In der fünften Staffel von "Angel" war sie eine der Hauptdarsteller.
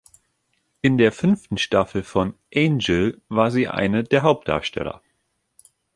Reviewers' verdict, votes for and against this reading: accepted, 2, 0